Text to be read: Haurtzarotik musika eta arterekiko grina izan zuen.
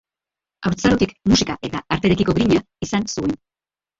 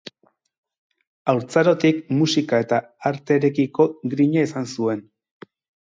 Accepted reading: second